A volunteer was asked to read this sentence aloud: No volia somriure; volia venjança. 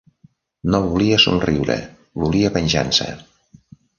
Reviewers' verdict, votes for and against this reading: accepted, 2, 0